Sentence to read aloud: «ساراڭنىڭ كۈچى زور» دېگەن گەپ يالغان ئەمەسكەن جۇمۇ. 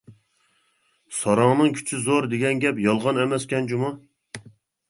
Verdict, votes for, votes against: accepted, 2, 0